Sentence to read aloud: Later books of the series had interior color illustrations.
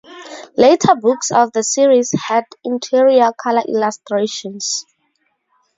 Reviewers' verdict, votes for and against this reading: accepted, 2, 0